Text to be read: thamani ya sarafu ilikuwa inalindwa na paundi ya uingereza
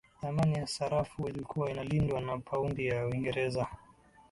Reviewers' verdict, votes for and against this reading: accepted, 19, 2